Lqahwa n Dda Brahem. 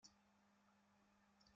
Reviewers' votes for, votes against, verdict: 0, 2, rejected